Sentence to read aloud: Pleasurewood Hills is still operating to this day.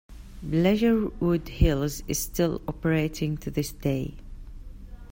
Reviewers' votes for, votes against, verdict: 0, 2, rejected